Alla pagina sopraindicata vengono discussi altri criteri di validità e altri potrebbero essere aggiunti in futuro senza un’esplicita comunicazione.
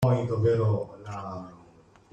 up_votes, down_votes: 0, 2